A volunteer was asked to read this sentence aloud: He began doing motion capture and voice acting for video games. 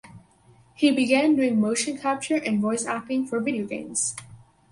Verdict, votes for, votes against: accepted, 4, 0